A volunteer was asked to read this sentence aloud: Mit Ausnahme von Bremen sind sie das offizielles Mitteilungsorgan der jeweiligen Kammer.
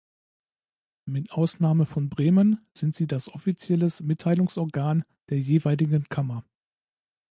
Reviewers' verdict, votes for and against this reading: accepted, 2, 0